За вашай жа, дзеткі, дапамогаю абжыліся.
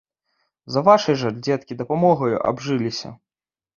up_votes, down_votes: 2, 0